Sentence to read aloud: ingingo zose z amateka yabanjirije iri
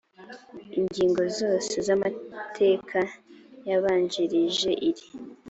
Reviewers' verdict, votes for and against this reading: accepted, 2, 0